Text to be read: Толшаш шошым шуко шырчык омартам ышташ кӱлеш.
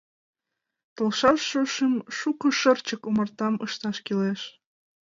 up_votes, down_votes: 2, 0